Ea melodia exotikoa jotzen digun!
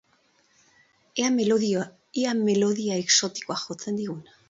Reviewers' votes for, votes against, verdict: 0, 2, rejected